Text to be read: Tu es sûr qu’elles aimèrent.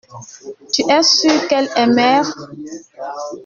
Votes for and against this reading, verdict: 1, 2, rejected